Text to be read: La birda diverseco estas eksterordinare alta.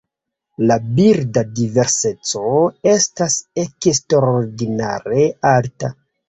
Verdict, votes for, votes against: rejected, 1, 3